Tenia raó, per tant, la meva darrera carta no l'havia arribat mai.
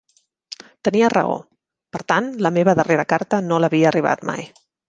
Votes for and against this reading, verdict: 3, 0, accepted